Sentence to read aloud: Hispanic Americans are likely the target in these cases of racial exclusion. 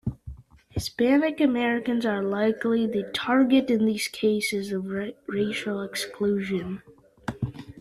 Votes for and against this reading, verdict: 1, 2, rejected